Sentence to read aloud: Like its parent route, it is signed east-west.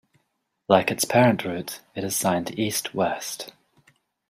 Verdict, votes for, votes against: rejected, 0, 2